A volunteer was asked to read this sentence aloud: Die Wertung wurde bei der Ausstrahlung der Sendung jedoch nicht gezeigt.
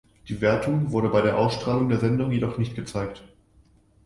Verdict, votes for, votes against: accepted, 2, 0